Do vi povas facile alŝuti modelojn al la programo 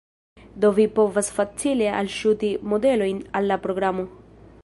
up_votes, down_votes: 2, 1